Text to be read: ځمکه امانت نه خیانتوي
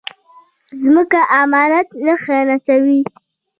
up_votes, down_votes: 1, 2